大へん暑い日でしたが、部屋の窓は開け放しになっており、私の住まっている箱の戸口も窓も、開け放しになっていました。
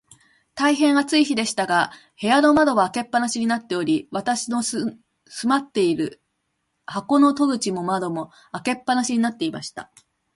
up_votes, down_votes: 2, 1